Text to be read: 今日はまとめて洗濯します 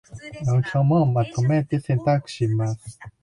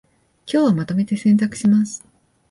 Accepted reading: second